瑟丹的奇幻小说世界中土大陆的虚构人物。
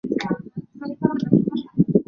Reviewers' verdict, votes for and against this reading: rejected, 0, 3